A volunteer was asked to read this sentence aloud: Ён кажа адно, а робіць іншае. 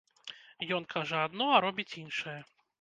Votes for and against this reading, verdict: 2, 0, accepted